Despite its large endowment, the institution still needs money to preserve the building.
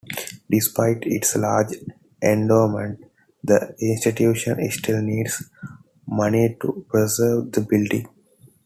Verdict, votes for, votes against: accepted, 2, 0